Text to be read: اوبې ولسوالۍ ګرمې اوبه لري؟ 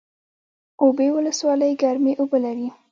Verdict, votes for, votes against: accepted, 2, 0